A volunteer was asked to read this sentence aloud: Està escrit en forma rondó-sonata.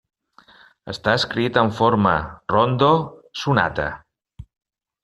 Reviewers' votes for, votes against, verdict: 0, 2, rejected